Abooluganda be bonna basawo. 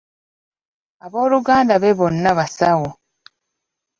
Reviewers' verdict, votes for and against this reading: accepted, 2, 0